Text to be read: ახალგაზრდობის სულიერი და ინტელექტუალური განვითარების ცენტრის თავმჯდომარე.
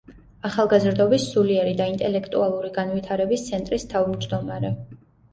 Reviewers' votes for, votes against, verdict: 2, 0, accepted